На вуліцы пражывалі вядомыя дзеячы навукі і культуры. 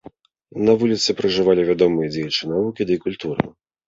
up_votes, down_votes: 1, 2